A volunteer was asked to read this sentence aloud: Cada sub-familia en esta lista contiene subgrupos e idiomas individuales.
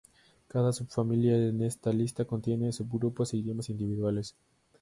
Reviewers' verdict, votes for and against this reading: accepted, 2, 0